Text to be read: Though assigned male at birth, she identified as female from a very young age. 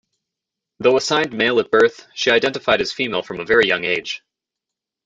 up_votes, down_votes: 2, 1